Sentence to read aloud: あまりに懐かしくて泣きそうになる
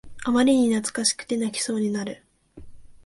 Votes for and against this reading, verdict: 2, 0, accepted